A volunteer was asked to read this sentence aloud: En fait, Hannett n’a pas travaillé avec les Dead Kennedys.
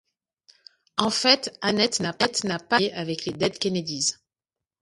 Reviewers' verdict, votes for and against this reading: rejected, 0, 2